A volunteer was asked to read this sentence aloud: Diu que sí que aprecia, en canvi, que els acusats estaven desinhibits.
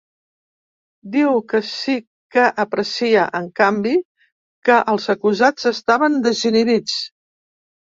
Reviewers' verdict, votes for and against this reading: rejected, 1, 2